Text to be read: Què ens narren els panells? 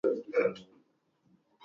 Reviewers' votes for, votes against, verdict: 0, 2, rejected